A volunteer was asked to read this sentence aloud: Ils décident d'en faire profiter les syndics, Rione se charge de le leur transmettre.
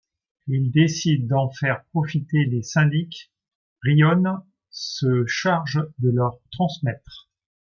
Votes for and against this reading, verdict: 1, 2, rejected